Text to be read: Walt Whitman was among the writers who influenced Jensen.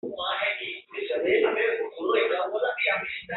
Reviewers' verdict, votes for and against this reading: rejected, 1, 3